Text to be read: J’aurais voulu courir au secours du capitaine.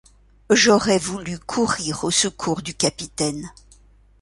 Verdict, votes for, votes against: accepted, 2, 0